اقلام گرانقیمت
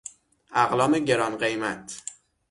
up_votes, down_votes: 6, 0